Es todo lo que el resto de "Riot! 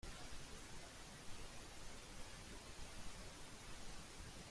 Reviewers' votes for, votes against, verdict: 0, 2, rejected